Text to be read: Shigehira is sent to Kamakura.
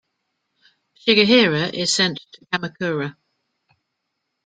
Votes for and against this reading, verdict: 1, 2, rejected